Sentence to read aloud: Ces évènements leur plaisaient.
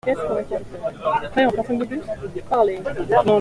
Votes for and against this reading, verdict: 0, 2, rejected